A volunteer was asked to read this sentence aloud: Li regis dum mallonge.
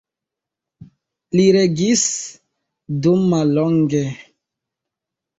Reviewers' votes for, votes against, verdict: 0, 2, rejected